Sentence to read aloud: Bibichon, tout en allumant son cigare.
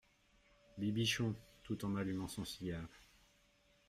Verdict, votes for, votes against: accepted, 2, 0